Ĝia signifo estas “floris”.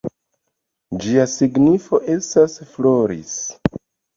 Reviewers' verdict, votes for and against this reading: accepted, 2, 0